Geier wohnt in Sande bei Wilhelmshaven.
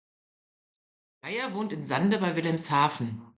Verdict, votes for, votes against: accepted, 2, 0